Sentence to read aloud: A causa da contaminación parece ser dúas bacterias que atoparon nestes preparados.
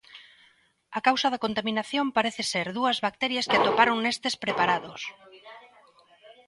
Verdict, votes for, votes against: rejected, 1, 2